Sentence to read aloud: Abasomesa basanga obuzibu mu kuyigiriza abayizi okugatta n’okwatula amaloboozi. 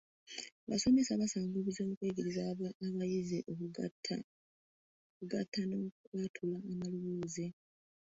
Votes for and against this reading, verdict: 2, 3, rejected